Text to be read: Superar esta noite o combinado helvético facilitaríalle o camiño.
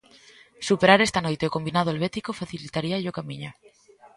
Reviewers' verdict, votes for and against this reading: rejected, 1, 2